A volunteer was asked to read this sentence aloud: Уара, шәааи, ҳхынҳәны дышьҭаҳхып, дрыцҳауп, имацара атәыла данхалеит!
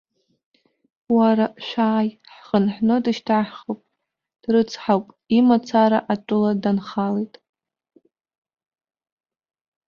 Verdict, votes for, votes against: accepted, 2, 0